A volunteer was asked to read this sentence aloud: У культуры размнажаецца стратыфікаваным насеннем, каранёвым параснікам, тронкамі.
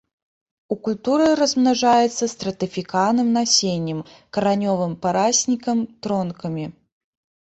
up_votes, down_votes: 0, 2